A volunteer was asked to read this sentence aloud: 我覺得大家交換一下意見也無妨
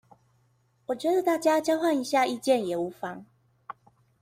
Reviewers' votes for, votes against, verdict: 2, 0, accepted